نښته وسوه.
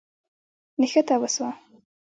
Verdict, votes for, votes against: accepted, 2, 1